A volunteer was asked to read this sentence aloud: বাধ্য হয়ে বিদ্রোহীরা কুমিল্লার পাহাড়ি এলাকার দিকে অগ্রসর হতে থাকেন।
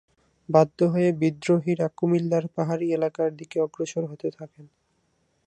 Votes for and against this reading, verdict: 0, 2, rejected